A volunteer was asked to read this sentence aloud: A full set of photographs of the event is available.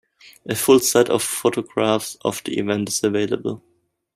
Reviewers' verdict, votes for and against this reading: accepted, 2, 0